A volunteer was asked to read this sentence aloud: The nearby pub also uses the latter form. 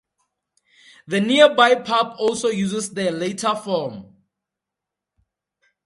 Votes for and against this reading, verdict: 4, 0, accepted